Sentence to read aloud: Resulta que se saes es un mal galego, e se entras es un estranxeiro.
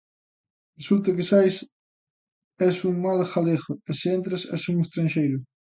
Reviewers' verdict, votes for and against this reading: rejected, 0, 3